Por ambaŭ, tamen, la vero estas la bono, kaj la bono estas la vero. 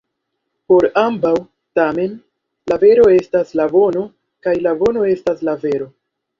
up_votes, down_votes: 1, 2